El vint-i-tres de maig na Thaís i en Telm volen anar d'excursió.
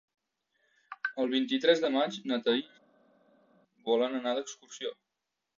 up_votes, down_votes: 0, 2